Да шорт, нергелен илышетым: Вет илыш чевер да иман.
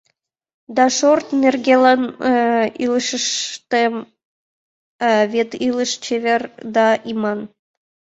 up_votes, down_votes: 0, 2